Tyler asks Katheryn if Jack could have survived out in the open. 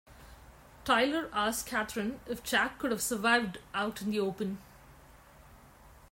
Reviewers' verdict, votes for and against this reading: accepted, 2, 0